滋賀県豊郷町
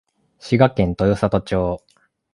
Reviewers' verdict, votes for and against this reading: accepted, 2, 0